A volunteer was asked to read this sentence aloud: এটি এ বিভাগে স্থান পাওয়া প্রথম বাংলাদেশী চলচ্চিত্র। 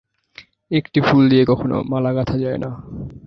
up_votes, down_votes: 0, 3